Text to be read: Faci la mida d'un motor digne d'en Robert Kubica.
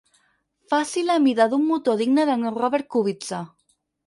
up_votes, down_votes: 2, 4